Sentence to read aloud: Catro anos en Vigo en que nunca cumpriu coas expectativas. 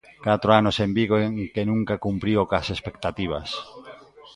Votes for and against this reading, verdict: 0, 2, rejected